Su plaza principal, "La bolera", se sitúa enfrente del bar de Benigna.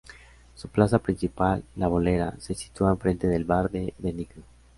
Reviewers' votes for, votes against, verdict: 2, 0, accepted